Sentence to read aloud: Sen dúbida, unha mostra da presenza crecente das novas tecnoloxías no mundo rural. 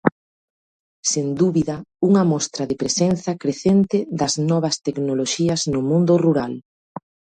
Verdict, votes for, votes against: rejected, 0, 2